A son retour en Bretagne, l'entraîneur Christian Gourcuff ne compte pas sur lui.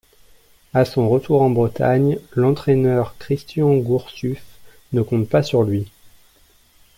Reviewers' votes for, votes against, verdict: 1, 2, rejected